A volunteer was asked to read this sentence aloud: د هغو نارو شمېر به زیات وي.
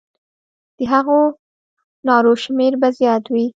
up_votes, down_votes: 1, 2